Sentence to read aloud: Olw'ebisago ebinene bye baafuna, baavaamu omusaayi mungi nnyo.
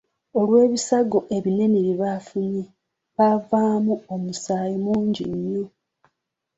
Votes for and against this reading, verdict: 0, 2, rejected